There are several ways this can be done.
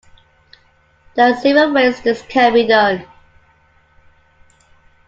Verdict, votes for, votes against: accepted, 2, 0